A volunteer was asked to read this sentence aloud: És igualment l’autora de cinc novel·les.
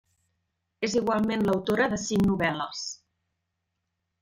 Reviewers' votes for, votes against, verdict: 3, 0, accepted